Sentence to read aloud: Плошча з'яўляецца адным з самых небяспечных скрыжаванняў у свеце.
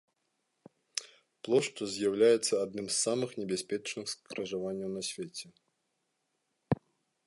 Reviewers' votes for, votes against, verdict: 0, 2, rejected